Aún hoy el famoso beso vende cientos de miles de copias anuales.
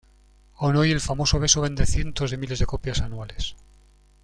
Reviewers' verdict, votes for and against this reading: accepted, 2, 0